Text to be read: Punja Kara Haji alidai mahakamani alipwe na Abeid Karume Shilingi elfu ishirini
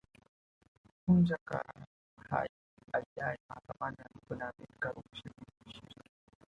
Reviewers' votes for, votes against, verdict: 0, 2, rejected